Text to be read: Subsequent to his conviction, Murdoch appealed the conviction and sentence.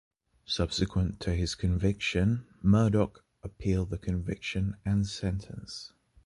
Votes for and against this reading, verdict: 0, 2, rejected